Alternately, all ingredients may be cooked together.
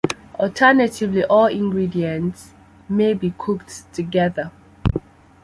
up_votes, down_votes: 2, 0